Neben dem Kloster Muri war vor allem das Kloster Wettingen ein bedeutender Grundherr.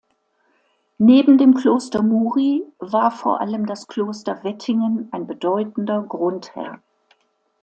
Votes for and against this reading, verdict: 2, 0, accepted